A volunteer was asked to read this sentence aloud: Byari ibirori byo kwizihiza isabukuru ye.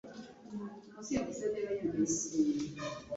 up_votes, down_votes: 1, 2